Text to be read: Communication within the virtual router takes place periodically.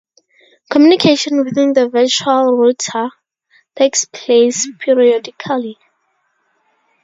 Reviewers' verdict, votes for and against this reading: accepted, 4, 0